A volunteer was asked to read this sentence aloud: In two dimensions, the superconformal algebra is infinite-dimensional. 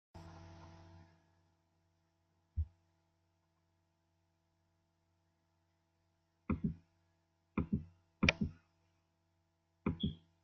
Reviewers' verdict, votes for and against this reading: rejected, 0, 2